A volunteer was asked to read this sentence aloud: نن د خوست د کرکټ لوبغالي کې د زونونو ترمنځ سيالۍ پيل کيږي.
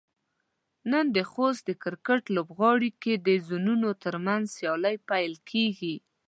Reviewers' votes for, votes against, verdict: 1, 2, rejected